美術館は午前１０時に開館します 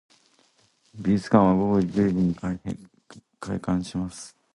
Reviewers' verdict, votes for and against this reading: rejected, 0, 2